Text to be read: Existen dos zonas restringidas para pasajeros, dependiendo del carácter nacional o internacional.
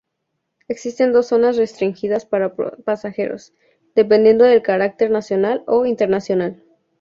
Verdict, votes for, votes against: accepted, 2, 0